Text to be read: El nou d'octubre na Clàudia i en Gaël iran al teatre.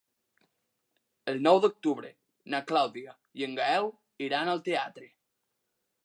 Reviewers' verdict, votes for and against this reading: accepted, 2, 0